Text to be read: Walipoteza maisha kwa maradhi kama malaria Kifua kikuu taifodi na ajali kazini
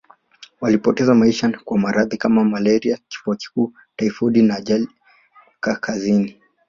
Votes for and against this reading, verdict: 1, 2, rejected